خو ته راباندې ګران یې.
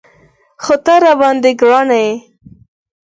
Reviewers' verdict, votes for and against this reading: accepted, 4, 0